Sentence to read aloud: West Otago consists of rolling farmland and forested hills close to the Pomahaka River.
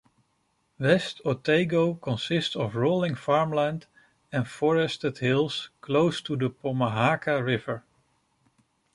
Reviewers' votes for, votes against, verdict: 2, 0, accepted